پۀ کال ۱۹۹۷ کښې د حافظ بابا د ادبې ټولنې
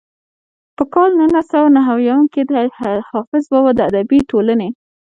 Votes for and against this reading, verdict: 0, 2, rejected